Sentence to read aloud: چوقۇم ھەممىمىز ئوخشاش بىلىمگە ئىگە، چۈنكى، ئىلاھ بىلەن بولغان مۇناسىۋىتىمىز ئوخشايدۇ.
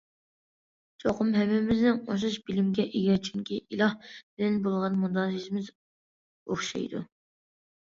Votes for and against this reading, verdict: 0, 2, rejected